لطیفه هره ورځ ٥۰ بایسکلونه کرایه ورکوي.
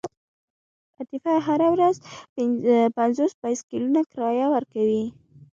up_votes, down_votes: 0, 2